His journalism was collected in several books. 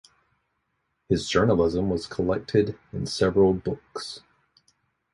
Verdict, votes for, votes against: accepted, 4, 0